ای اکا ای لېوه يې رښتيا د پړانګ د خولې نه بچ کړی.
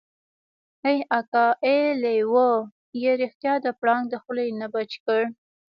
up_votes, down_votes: 0, 2